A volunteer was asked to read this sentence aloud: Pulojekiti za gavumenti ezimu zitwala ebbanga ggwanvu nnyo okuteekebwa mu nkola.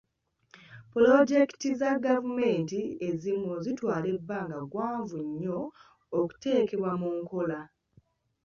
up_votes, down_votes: 1, 2